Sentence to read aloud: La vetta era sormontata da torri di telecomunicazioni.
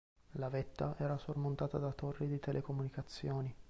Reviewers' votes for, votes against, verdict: 2, 0, accepted